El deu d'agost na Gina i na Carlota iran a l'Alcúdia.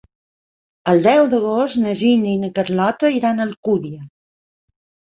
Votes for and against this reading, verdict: 1, 2, rejected